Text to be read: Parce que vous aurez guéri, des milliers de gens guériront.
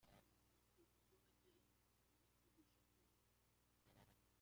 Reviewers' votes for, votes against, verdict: 0, 2, rejected